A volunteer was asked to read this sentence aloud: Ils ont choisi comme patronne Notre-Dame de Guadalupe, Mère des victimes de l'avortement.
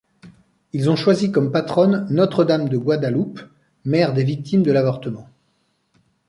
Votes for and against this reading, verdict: 0, 2, rejected